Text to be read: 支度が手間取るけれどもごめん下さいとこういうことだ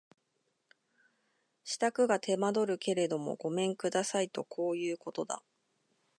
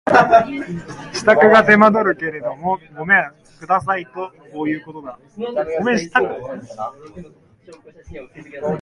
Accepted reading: first